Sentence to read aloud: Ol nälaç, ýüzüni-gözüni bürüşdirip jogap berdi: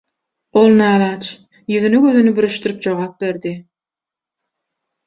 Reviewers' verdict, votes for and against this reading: accepted, 6, 0